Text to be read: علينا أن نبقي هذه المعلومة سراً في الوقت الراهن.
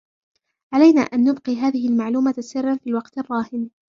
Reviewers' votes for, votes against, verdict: 1, 2, rejected